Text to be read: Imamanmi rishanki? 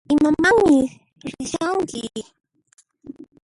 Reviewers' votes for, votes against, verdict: 2, 0, accepted